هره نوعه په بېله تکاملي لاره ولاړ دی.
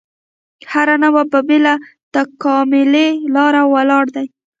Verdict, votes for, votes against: rejected, 1, 2